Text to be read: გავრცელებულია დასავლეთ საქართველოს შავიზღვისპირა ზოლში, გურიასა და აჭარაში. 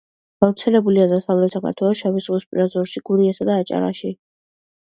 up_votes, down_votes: 1, 2